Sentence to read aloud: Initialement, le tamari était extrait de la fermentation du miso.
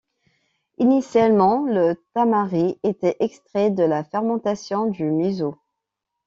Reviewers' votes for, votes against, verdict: 2, 0, accepted